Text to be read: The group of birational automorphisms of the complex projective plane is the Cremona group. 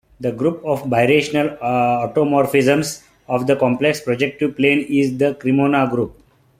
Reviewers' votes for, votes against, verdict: 2, 0, accepted